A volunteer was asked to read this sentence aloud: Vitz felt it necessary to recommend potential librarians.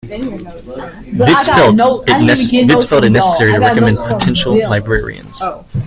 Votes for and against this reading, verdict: 0, 2, rejected